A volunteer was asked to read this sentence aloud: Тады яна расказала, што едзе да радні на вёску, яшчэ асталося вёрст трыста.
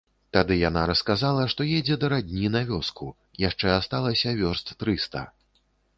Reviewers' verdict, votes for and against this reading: rejected, 0, 2